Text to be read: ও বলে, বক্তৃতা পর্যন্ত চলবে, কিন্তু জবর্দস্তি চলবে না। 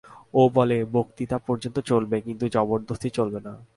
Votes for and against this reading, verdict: 2, 0, accepted